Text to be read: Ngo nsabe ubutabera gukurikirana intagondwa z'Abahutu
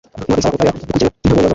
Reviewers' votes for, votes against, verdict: 0, 2, rejected